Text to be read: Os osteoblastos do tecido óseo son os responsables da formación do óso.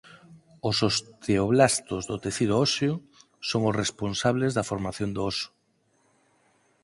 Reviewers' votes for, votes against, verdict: 4, 0, accepted